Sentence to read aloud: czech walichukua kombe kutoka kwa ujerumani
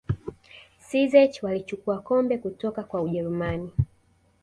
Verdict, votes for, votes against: accepted, 2, 0